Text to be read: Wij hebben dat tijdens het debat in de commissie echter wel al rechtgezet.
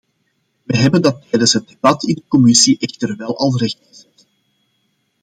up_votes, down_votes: 1, 2